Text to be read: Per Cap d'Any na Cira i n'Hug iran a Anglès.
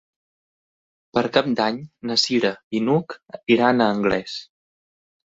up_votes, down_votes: 3, 1